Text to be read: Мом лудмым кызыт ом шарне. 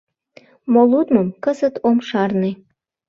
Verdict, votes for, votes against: rejected, 1, 2